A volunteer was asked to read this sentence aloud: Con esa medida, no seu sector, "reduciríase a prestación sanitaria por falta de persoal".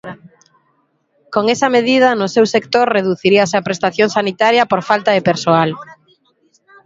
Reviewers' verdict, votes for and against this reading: accepted, 3, 2